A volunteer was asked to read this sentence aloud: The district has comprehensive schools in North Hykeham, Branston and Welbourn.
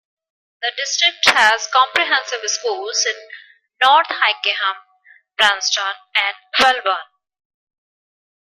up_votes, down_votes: 2, 0